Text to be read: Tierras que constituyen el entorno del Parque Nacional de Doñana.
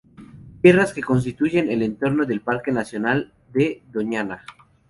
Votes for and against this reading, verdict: 2, 0, accepted